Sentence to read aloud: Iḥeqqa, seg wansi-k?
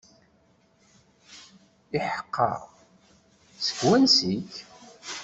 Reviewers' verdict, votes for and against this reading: accepted, 2, 0